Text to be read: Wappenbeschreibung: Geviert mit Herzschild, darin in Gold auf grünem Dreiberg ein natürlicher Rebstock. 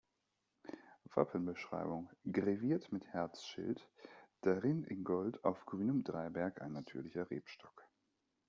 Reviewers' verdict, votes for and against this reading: rejected, 0, 2